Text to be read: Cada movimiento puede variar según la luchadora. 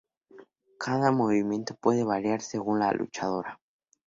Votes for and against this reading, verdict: 4, 0, accepted